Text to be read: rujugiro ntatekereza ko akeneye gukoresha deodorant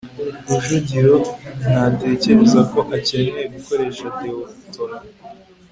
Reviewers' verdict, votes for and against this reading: accepted, 2, 0